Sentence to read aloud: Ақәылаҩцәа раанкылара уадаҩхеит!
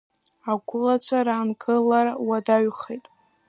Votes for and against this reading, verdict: 0, 2, rejected